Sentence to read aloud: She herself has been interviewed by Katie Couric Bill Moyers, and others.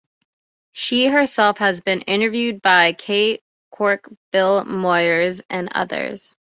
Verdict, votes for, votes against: rejected, 1, 2